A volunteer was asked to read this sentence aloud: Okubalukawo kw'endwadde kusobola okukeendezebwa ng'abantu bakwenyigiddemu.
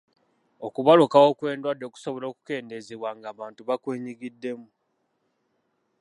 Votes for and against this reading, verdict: 2, 0, accepted